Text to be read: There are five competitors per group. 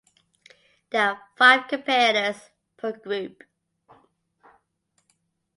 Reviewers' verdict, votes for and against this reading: accepted, 4, 0